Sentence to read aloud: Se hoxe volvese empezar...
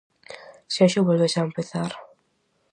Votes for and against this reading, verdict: 0, 4, rejected